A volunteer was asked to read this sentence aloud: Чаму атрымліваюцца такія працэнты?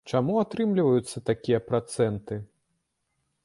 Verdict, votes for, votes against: accepted, 2, 0